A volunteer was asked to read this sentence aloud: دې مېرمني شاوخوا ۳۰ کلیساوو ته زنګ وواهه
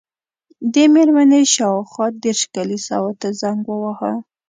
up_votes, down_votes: 0, 2